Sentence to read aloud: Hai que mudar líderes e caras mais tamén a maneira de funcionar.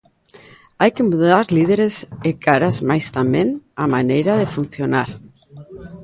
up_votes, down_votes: 1, 2